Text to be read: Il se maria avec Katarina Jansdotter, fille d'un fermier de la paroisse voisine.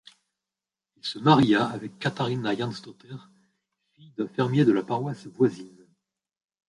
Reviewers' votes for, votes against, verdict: 1, 2, rejected